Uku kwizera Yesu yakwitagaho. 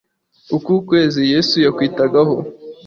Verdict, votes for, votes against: rejected, 1, 2